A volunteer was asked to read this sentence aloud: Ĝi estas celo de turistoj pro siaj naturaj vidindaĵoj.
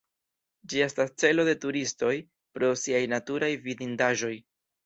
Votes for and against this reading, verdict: 2, 0, accepted